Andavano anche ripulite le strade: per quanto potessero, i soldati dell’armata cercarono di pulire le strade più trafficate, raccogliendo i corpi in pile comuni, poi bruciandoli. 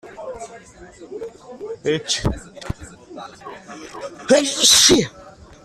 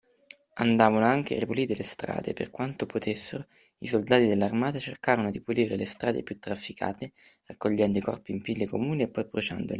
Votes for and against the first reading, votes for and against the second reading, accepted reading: 0, 2, 2, 0, second